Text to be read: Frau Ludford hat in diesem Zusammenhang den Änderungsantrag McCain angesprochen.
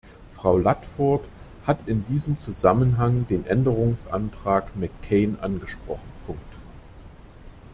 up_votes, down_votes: 1, 2